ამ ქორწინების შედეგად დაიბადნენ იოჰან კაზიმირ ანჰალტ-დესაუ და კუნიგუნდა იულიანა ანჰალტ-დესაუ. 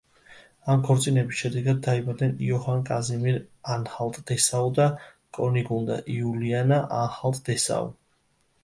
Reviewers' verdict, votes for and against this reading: rejected, 0, 2